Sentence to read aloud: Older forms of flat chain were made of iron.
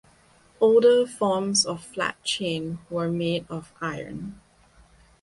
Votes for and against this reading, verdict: 2, 0, accepted